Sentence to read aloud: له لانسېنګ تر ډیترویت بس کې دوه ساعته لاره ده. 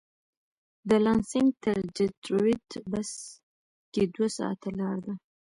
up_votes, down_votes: 1, 2